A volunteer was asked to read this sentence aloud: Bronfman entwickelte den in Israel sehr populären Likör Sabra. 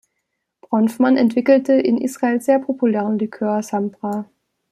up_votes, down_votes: 0, 2